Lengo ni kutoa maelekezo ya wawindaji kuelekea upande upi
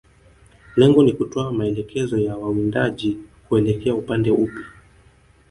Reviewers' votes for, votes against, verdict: 0, 3, rejected